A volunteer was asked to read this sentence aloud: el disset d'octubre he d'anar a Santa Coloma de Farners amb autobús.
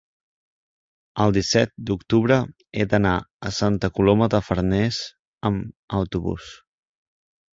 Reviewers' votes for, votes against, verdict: 3, 1, accepted